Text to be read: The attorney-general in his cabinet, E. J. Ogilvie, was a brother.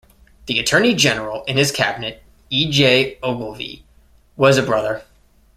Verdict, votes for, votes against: accepted, 2, 0